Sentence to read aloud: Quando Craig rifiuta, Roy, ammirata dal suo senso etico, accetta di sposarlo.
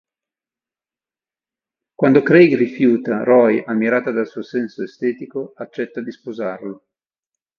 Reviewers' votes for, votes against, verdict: 1, 2, rejected